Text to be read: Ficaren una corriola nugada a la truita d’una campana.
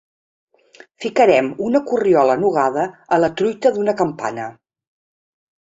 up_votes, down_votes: 2, 3